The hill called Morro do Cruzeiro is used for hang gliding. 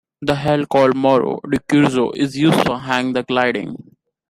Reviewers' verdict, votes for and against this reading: rejected, 1, 2